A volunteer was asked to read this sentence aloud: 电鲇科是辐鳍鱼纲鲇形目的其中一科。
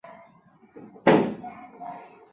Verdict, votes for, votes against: rejected, 0, 3